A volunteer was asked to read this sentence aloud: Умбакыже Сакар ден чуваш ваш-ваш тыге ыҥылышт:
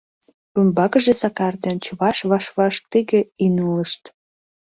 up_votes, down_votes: 1, 2